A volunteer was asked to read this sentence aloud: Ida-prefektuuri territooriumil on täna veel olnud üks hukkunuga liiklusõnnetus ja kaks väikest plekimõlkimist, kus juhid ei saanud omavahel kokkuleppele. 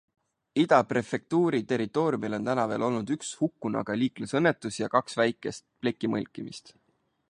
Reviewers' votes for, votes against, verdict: 1, 3, rejected